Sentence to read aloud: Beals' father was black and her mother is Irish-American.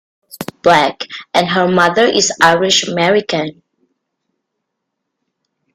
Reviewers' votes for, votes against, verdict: 0, 2, rejected